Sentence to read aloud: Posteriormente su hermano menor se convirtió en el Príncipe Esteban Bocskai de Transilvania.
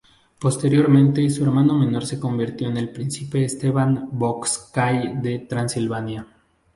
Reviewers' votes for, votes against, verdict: 2, 0, accepted